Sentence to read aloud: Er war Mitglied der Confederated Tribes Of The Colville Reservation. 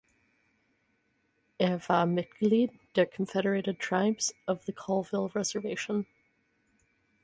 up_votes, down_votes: 4, 0